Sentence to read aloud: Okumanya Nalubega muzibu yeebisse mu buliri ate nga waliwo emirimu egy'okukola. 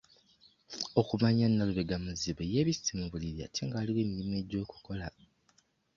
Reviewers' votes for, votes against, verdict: 2, 1, accepted